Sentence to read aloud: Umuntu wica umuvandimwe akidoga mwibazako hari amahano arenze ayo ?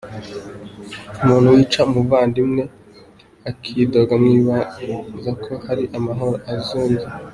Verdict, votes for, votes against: rejected, 0, 2